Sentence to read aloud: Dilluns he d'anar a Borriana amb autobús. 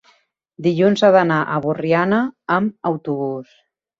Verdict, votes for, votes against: accepted, 3, 0